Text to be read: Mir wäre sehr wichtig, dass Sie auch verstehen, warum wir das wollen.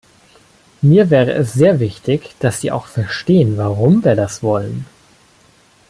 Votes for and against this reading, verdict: 1, 2, rejected